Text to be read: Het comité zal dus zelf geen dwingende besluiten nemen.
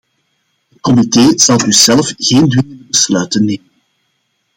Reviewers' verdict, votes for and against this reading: rejected, 0, 2